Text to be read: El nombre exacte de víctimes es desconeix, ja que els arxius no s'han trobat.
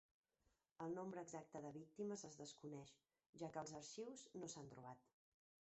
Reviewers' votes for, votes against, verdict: 1, 2, rejected